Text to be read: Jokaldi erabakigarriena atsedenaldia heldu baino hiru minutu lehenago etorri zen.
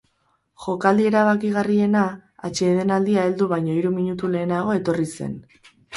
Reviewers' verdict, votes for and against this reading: accepted, 4, 0